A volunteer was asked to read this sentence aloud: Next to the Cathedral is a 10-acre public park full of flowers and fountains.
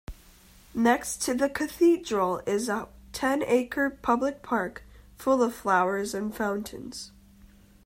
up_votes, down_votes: 0, 2